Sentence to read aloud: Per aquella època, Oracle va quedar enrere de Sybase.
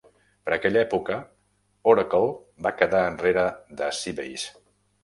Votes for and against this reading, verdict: 3, 0, accepted